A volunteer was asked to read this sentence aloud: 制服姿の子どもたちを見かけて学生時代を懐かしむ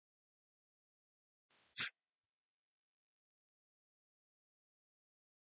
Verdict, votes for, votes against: rejected, 1, 2